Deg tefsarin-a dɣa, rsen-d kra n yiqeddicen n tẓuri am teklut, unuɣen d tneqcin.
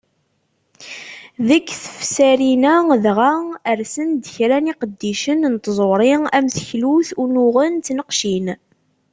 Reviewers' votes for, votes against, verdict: 2, 0, accepted